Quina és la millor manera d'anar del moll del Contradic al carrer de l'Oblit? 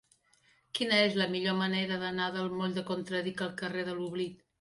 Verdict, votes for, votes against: rejected, 0, 2